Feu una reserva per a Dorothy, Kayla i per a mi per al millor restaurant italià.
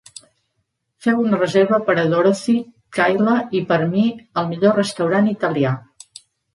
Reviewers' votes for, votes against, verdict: 1, 2, rejected